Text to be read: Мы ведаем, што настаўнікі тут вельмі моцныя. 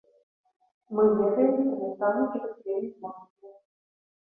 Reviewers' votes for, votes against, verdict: 1, 2, rejected